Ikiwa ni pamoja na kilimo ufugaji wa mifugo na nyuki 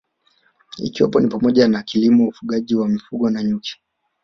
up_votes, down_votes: 1, 2